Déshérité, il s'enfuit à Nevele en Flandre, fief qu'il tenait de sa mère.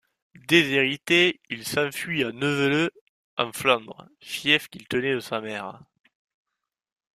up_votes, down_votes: 2, 0